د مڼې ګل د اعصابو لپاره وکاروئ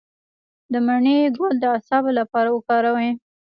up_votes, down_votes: 2, 0